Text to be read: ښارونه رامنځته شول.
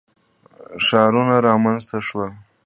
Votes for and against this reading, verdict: 2, 0, accepted